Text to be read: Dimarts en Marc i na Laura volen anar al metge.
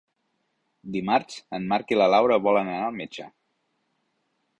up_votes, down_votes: 1, 2